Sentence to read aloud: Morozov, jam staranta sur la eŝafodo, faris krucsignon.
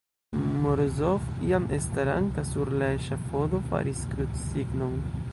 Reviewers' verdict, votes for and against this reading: rejected, 1, 2